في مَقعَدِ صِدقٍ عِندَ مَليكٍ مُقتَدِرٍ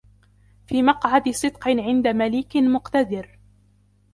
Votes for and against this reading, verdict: 0, 2, rejected